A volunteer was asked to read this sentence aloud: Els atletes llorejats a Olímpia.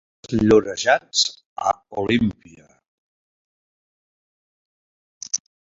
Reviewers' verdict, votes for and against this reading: rejected, 0, 2